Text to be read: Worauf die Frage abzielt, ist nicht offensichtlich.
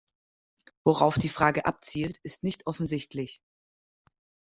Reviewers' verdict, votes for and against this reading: accepted, 3, 0